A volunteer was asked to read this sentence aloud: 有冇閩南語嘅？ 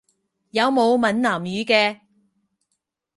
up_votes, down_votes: 4, 0